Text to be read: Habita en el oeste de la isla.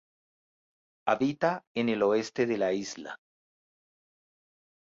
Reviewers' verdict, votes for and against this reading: accepted, 2, 0